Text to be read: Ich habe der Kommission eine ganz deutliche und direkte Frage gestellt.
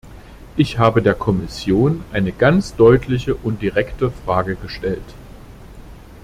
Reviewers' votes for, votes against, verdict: 2, 0, accepted